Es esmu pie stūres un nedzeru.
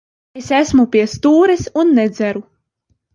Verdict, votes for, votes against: accepted, 2, 0